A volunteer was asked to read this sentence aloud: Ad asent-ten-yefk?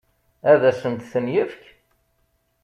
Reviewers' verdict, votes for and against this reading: accepted, 2, 0